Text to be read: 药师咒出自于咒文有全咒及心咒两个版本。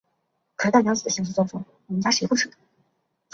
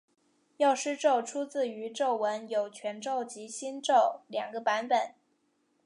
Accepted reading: second